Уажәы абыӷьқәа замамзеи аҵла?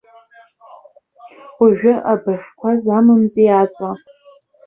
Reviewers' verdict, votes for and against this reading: rejected, 1, 3